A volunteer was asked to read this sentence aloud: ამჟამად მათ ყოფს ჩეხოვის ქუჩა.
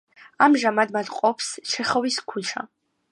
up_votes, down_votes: 2, 0